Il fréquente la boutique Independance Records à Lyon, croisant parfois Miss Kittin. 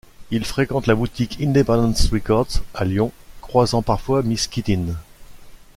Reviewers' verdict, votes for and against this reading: accepted, 2, 0